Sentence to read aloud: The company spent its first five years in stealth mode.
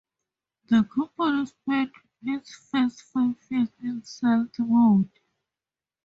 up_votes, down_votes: 0, 2